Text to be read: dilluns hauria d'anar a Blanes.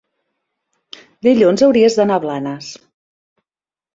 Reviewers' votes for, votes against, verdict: 1, 3, rejected